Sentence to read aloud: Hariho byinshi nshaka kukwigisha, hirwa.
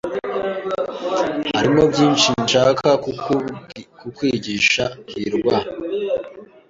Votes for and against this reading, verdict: 1, 2, rejected